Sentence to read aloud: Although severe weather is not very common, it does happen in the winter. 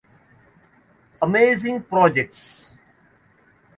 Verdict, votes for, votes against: rejected, 0, 2